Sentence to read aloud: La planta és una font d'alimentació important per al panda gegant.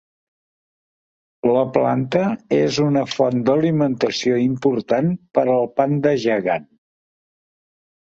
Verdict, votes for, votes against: accepted, 4, 1